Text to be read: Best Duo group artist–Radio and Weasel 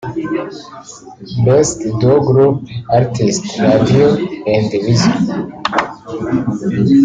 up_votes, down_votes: 0, 2